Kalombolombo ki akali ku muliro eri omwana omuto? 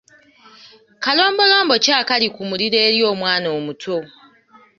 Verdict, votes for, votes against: accepted, 2, 0